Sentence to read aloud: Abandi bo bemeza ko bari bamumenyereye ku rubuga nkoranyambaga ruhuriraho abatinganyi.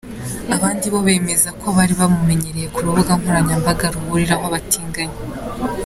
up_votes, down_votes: 2, 0